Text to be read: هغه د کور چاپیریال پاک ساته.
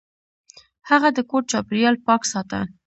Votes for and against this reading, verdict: 2, 0, accepted